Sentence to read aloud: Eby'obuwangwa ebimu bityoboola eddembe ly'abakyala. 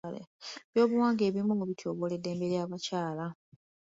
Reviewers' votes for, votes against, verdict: 2, 0, accepted